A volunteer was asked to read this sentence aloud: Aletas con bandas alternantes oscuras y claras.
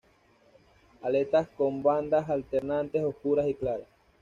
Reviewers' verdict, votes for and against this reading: accepted, 2, 1